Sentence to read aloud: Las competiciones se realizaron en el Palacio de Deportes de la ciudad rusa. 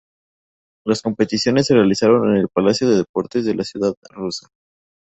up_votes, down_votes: 2, 0